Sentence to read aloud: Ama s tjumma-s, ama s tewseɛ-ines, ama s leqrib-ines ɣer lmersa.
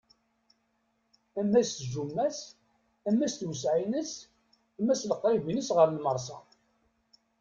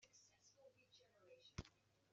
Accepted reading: first